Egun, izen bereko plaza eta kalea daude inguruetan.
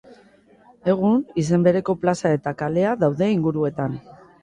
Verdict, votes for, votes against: rejected, 0, 2